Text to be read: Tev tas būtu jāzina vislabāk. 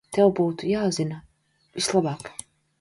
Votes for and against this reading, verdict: 0, 2, rejected